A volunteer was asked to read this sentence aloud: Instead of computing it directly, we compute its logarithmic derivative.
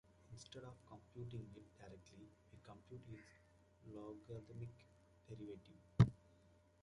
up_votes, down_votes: 0, 2